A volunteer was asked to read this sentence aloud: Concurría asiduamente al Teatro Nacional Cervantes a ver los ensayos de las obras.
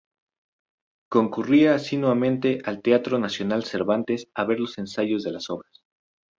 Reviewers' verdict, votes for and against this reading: rejected, 0, 2